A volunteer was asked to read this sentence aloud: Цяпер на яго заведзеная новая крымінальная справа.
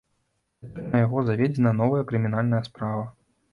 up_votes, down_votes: 0, 2